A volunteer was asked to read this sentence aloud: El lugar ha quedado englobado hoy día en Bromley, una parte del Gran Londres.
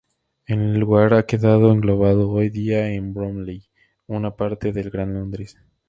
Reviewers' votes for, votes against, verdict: 2, 0, accepted